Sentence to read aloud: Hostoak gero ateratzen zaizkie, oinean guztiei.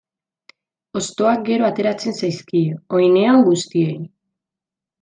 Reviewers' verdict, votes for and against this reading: rejected, 0, 2